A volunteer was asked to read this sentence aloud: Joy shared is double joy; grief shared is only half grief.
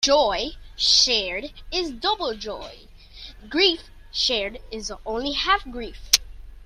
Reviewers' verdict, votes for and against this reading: accepted, 2, 0